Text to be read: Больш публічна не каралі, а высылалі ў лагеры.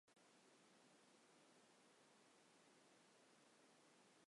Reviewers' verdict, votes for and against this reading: rejected, 1, 2